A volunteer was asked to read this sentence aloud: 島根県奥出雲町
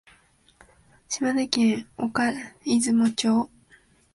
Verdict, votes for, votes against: rejected, 0, 2